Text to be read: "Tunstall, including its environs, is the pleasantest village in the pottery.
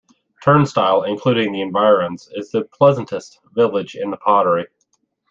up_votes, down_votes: 0, 2